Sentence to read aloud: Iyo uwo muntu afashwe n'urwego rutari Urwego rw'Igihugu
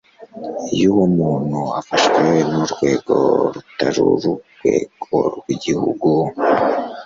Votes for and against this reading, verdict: 2, 0, accepted